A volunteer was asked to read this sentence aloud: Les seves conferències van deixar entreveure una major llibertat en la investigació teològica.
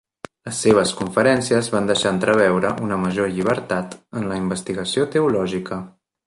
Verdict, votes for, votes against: accepted, 3, 0